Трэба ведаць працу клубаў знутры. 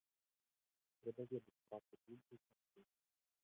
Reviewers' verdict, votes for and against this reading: rejected, 0, 2